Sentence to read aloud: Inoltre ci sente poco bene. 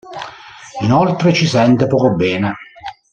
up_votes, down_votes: 2, 0